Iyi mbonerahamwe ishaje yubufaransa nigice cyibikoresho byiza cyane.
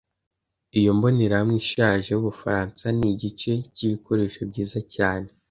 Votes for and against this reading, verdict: 1, 2, rejected